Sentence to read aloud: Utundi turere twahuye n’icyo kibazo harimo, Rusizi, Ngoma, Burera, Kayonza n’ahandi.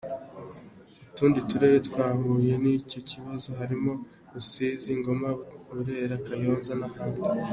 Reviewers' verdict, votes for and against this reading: accepted, 2, 0